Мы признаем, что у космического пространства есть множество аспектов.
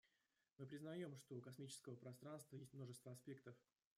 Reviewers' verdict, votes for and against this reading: rejected, 1, 2